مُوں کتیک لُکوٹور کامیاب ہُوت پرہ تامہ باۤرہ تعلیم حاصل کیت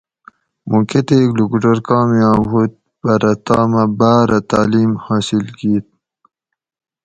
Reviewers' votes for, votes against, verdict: 2, 2, rejected